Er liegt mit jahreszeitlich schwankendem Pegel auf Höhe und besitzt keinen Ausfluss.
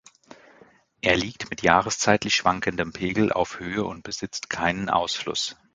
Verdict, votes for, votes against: accepted, 2, 0